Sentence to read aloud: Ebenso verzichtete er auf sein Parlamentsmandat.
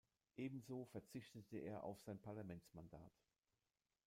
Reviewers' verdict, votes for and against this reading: rejected, 1, 2